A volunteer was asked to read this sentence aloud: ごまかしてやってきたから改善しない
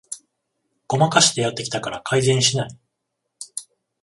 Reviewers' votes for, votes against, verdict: 14, 0, accepted